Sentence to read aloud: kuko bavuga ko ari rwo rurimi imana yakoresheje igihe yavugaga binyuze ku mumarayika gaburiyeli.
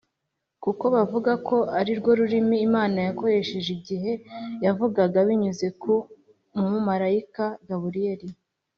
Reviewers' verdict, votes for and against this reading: accepted, 2, 0